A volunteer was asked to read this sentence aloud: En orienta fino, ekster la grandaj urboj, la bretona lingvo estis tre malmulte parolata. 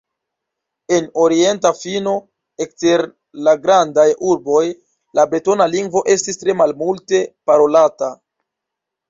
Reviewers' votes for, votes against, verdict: 1, 2, rejected